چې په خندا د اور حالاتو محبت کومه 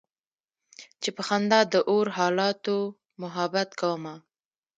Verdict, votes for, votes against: rejected, 0, 2